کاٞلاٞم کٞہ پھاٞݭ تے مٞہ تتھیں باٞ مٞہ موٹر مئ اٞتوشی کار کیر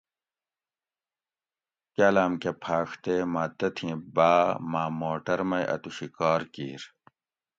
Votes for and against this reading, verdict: 2, 0, accepted